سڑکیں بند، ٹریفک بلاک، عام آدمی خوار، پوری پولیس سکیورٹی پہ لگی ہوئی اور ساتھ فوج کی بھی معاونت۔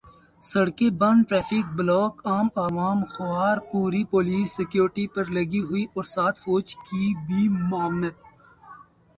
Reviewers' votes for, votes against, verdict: 0, 2, rejected